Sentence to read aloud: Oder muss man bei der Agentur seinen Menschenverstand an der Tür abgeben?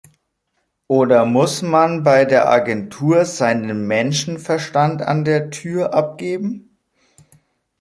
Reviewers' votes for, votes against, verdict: 2, 0, accepted